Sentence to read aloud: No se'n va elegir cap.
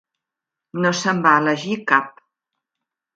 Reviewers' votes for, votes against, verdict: 5, 0, accepted